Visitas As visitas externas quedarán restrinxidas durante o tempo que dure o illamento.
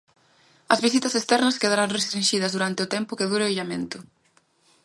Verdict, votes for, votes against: rejected, 1, 2